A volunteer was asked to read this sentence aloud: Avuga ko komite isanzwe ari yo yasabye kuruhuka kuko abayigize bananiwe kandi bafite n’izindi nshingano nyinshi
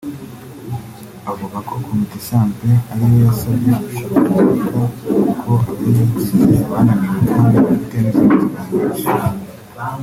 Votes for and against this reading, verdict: 1, 2, rejected